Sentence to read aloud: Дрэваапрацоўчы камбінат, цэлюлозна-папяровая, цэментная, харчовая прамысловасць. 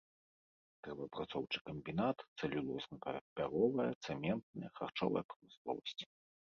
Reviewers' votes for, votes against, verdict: 1, 2, rejected